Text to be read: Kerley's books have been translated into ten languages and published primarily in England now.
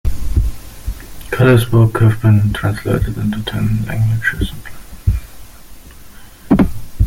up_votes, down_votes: 0, 2